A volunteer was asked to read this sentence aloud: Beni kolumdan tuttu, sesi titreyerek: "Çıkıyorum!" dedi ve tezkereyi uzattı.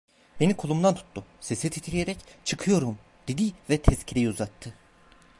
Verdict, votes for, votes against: rejected, 1, 2